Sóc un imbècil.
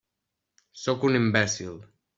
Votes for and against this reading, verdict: 3, 0, accepted